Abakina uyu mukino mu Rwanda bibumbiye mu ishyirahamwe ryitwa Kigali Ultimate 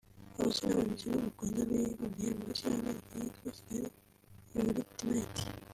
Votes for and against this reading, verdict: 1, 2, rejected